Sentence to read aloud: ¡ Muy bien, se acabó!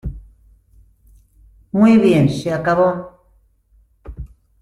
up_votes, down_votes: 2, 0